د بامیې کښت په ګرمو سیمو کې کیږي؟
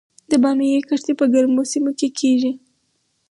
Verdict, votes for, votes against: accepted, 4, 0